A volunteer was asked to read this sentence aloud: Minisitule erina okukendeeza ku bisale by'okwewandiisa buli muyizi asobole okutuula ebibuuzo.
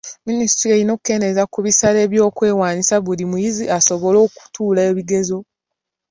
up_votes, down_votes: 4, 3